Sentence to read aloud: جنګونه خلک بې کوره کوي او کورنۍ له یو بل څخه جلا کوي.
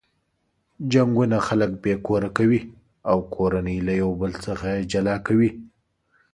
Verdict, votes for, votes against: accepted, 3, 0